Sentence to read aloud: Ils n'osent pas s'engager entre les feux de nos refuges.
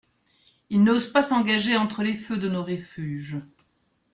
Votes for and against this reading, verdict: 1, 2, rejected